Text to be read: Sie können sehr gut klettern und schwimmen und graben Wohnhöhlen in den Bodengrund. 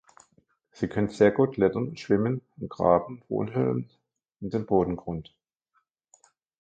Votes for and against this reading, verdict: 2, 1, accepted